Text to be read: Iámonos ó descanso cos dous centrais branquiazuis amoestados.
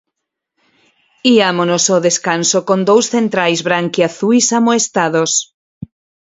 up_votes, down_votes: 2, 4